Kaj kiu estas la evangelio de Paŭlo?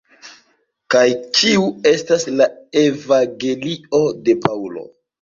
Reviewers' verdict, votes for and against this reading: rejected, 0, 2